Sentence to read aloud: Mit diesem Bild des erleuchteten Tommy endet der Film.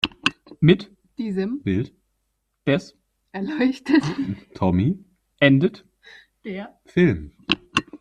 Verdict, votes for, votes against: rejected, 0, 2